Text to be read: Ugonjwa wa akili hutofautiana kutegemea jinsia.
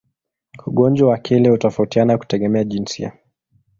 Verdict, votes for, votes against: rejected, 1, 2